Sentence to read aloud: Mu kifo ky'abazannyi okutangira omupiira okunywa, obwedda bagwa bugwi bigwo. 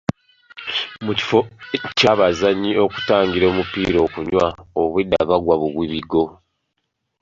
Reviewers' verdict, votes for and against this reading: accepted, 2, 0